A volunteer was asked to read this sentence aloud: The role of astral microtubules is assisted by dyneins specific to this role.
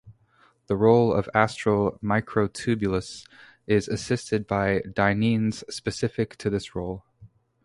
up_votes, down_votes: 2, 0